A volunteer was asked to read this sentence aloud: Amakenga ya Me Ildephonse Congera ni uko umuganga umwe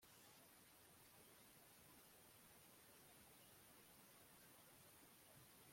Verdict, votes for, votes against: rejected, 0, 2